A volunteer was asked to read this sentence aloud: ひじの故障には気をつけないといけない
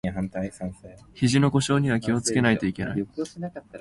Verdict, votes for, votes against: accepted, 2, 1